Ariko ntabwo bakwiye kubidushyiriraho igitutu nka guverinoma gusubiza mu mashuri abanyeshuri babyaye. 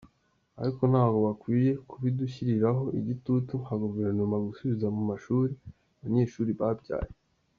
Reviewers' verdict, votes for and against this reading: accepted, 2, 0